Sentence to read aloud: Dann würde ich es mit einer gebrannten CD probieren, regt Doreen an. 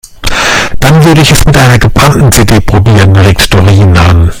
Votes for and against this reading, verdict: 1, 2, rejected